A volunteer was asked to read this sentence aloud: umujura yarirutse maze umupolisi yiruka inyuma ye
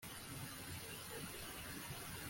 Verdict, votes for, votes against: rejected, 1, 2